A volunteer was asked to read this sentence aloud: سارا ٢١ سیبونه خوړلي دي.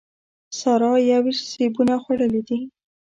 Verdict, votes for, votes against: rejected, 0, 2